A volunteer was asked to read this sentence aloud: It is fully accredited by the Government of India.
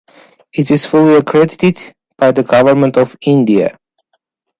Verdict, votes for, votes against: accepted, 2, 0